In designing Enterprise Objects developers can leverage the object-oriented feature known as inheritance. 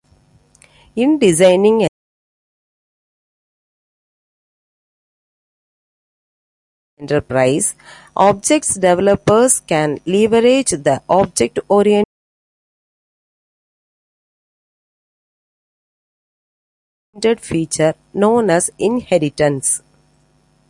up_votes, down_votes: 1, 2